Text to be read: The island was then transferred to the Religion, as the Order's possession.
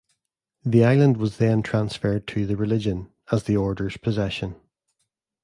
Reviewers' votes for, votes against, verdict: 2, 0, accepted